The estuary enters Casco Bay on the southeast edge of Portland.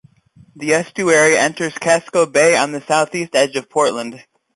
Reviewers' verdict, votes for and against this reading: accepted, 2, 0